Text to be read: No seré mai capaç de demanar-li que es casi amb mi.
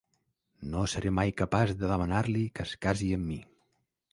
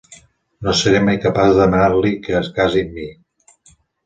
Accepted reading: first